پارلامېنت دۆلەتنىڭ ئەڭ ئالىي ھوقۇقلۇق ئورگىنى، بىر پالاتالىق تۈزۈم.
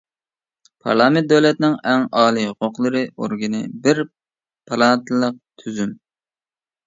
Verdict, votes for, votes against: rejected, 0, 2